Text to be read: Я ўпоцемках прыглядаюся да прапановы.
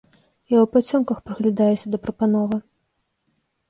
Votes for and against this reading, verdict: 1, 2, rejected